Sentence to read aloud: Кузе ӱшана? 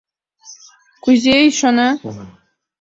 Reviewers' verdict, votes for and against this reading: rejected, 1, 2